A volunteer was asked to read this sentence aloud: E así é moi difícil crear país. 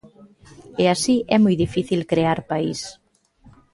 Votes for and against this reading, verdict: 3, 0, accepted